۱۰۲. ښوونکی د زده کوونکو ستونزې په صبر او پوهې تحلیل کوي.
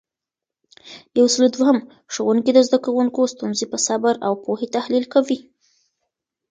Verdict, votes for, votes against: rejected, 0, 2